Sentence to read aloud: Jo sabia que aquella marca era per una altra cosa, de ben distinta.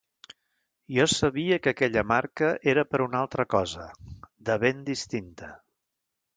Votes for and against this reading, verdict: 2, 0, accepted